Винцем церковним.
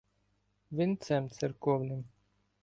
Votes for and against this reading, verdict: 2, 0, accepted